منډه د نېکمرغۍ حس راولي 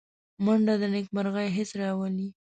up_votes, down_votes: 2, 1